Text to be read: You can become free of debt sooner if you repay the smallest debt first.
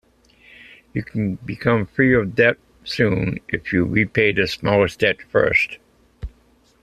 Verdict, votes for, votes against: rejected, 0, 2